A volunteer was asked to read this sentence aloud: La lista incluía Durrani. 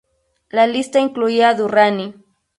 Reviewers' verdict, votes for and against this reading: rejected, 0, 2